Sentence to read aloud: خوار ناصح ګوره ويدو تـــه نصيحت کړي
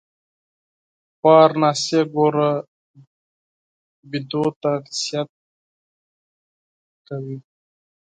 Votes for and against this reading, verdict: 2, 4, rejected